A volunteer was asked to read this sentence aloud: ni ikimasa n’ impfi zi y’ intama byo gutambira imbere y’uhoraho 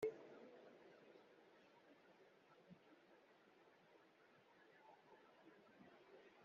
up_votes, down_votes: 0, 3